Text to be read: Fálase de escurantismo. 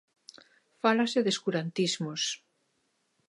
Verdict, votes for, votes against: rejected, 1, 2